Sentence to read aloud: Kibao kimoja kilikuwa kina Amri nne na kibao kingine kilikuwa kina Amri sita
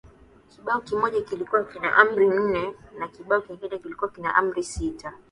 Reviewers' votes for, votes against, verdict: 2, 0, accepted